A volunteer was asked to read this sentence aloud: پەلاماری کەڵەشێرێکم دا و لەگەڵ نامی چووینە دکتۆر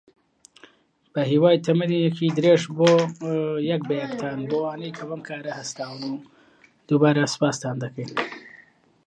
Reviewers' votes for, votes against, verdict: 0, 2, rejected